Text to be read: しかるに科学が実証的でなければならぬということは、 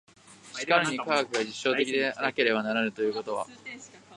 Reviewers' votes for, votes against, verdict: 0, 2, rejected